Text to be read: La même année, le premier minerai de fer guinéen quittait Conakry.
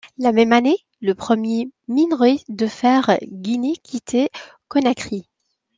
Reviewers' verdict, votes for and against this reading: rejected, 1, 2